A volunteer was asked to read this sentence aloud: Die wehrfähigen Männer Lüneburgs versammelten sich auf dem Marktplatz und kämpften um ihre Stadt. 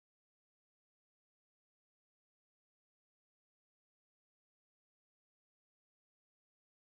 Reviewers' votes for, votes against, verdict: 0, 4, rejected